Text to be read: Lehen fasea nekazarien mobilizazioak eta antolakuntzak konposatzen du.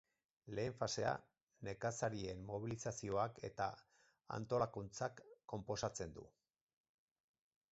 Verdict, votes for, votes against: accepted, 4, 2